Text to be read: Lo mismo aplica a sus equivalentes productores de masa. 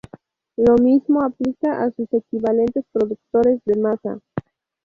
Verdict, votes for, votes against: rejected, 0, 2